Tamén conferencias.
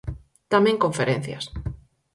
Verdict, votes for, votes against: accepted, 4, 0